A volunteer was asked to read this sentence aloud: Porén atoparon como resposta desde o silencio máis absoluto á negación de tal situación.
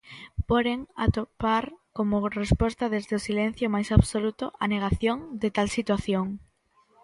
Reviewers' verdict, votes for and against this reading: rejected, 0, 2